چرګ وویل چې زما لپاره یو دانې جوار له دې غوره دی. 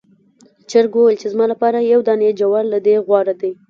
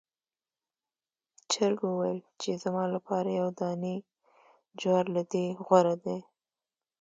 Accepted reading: second